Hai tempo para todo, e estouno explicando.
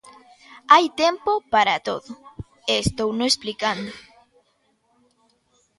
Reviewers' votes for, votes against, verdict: 2, 0, accepted